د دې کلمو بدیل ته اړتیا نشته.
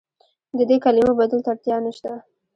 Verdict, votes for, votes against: rejected, 0, 2